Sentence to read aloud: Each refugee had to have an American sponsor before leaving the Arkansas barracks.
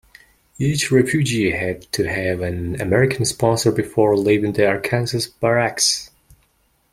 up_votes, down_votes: 1, 2